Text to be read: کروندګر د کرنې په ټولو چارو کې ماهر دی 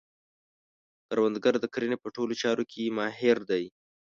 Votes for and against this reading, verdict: 2, 0, accepted